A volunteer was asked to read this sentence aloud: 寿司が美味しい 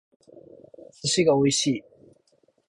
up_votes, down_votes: 2, 2